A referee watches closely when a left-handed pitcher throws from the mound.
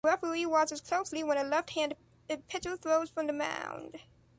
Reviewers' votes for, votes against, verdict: 0, 2, rejected